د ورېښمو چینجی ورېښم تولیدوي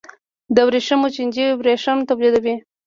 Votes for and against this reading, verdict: 2, 0, accepted